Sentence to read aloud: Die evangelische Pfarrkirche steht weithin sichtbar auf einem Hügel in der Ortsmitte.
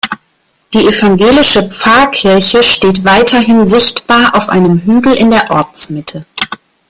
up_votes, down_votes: 0, 2